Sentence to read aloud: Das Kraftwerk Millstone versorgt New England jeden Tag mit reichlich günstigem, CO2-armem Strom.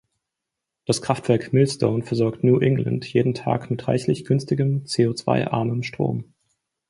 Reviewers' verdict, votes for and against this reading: rejected, 0, 2